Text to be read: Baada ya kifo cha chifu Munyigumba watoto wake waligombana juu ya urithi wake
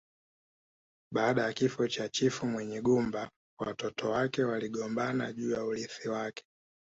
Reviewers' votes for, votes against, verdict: 2, 0, accepted